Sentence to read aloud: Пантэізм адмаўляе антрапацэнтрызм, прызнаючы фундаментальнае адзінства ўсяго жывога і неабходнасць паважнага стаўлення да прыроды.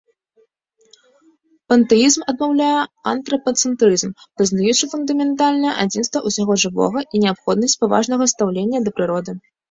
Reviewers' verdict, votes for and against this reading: rejected, 1, 2